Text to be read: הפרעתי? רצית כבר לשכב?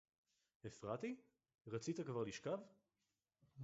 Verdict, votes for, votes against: rejected, 2, 2